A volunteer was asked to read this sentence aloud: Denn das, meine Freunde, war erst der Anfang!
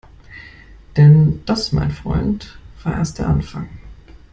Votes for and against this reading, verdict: 0, 2, rejected